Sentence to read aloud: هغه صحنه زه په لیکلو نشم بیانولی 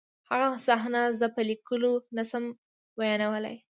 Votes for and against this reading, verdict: 2, 0, accepted